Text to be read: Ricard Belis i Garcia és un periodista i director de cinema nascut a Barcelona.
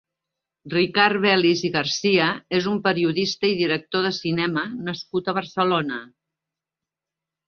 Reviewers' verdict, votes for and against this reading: accepted, 3, 0